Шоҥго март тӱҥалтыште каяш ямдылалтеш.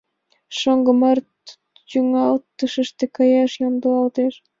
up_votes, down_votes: 1, 2